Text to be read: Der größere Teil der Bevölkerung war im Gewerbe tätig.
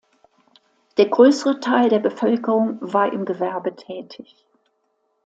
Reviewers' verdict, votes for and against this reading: accepted, 2, 0